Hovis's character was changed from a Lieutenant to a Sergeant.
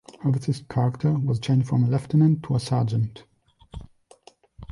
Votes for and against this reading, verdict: 1, 2, rejected